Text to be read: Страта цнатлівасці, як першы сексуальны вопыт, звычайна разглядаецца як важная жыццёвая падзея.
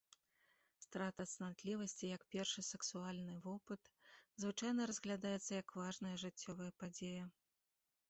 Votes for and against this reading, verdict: 2, 0, accepted